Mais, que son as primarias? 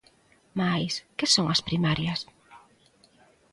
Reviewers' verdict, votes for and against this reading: accepted, 2, 0